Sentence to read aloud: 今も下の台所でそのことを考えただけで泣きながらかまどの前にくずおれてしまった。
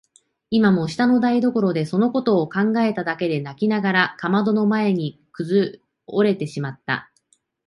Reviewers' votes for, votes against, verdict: 5, 0, accepted